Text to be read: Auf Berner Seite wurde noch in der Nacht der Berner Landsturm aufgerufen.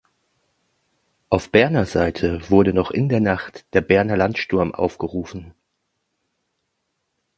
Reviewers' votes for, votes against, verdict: 2, 0, accepted